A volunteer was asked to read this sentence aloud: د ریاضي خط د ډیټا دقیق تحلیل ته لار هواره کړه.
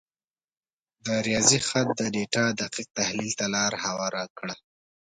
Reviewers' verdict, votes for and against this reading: accepted, 2, 0